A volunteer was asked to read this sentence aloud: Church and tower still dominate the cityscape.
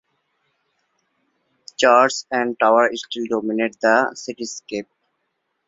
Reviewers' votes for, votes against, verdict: 2, 0, accepted